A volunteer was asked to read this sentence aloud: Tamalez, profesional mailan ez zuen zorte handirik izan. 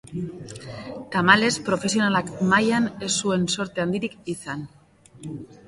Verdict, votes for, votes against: accepted, 3, 0